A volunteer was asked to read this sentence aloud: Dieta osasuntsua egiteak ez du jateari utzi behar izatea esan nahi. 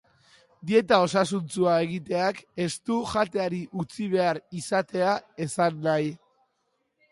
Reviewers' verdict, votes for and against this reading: accepted, 2, 0